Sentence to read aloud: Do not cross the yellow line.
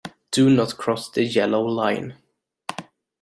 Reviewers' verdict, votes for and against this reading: accepted, 2, 0